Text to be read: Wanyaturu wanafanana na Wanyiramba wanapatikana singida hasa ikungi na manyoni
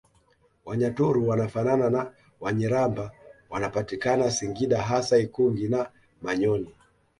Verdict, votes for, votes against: accepted, 2, 0